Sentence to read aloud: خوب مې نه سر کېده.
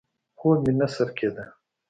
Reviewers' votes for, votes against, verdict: 2, 0, accepted